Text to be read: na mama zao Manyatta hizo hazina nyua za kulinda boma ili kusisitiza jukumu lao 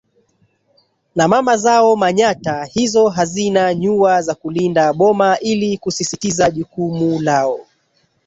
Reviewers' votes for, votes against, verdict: 1, 2, rejected